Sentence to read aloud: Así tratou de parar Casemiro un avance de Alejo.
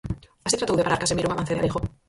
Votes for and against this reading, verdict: 0, 4, rejected